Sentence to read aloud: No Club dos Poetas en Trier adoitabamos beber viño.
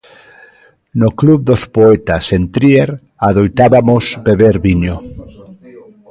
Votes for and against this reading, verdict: 0, 2, rejected